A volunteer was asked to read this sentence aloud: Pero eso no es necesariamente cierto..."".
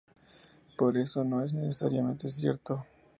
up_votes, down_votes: 0, 2